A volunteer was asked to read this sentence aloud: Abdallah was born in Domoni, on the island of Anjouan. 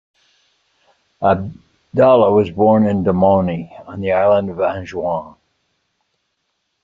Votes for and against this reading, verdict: 1, 2, rejected